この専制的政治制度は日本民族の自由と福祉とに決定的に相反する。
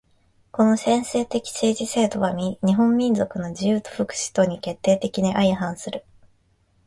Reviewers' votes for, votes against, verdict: 1, 2, rejected